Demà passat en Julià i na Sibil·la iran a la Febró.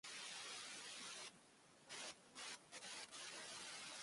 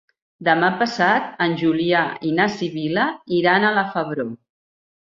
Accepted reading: second